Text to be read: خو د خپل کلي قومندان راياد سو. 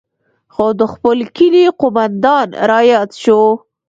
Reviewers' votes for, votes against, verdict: 1, 2, rejected